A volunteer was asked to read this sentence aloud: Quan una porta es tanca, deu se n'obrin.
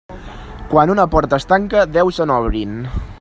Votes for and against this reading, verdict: 2, 0, accepted